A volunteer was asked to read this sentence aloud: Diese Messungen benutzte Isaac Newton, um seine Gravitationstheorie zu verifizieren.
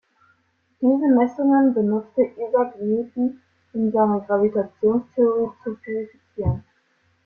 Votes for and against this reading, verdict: 2, 1, accepted